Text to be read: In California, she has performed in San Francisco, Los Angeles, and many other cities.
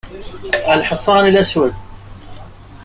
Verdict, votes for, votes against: rejected, 0, 2